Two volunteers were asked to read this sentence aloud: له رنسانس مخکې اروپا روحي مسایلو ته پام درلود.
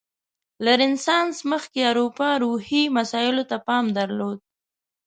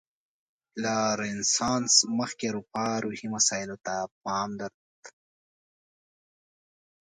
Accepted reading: second